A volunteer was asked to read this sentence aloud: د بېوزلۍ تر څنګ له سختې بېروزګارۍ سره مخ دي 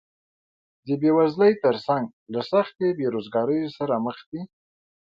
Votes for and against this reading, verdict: 2, 0, accepted